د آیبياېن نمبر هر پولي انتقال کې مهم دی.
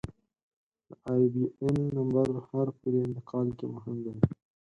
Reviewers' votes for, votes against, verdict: 4, 0, accepted